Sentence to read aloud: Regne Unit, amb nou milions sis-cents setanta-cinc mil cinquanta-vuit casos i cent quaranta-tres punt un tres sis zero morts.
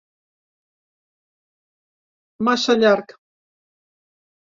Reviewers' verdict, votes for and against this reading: rejected, 0, 2